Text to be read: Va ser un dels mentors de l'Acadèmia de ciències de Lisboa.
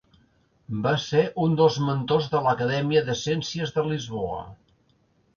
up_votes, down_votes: 2, 0